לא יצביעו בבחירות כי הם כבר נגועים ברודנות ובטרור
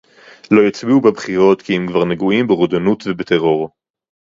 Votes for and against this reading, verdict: 2, 2, rejected